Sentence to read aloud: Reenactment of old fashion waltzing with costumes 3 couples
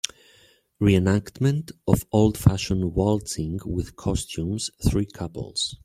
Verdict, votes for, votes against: rejected, 0, 2